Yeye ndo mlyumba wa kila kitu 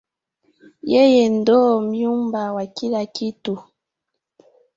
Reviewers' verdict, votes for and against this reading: accepted, 4, 0